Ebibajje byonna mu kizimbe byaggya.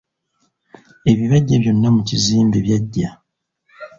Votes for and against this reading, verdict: 0, 2, rejected